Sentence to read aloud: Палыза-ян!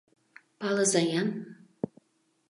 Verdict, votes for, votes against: accepted, 2, 0